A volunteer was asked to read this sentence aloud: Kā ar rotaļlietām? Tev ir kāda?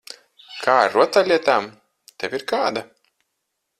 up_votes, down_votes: 4, 0